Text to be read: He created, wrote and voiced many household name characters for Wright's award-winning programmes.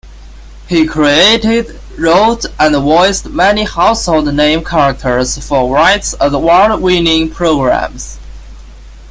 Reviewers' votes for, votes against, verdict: 2, 0, accepted